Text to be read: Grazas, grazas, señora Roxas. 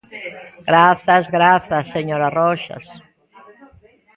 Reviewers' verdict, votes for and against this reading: rejected, 1, 2